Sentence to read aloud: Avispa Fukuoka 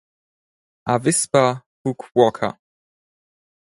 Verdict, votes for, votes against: accepted, 6, 2